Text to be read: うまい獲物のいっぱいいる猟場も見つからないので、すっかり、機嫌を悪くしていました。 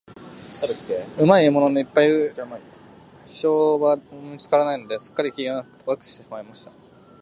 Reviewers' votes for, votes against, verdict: 0, 2, rejected